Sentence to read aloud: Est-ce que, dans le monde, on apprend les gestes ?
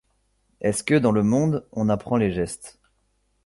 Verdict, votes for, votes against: accepted, 2, 1